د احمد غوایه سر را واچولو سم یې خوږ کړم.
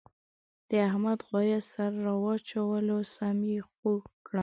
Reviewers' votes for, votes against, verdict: 1, 2, rejected